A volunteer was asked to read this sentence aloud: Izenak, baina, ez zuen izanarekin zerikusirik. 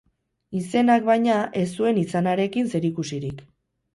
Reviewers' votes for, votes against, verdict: 2, 0, accepted